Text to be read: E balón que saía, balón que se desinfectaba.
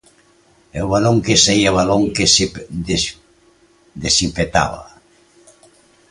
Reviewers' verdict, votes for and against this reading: rejected, 0, 2